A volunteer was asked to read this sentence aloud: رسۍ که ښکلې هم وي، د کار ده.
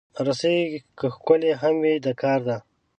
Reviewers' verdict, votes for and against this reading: accepted, 2, 0